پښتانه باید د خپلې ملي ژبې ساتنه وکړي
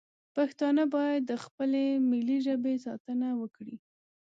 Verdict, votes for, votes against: accepted, 2, 0